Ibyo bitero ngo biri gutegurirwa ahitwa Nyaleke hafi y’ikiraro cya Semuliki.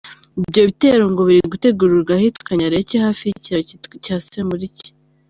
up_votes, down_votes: 0, 2